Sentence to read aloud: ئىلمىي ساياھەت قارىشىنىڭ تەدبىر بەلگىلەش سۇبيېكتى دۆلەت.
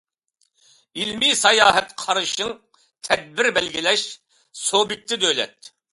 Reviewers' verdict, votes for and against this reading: rejected, 1, 2